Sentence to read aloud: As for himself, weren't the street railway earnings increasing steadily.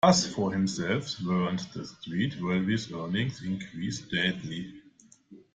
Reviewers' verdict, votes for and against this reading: rejected, 0, 2